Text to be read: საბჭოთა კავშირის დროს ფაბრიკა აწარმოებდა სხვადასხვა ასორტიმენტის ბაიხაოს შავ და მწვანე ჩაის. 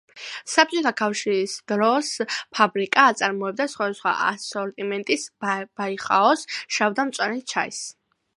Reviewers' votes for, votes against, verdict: 2, 0, accepted